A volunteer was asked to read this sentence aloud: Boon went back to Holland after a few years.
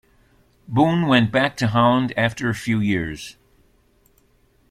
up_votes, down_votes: 2, 0